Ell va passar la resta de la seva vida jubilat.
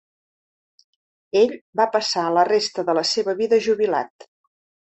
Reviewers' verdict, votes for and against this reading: accepted, 4, 0